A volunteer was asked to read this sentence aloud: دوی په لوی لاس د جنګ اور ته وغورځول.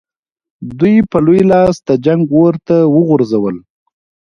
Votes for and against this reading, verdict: 2, 1, accepted